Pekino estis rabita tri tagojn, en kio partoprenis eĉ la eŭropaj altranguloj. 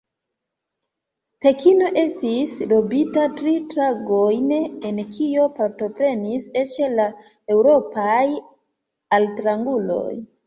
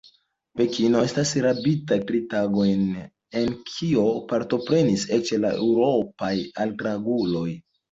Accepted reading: second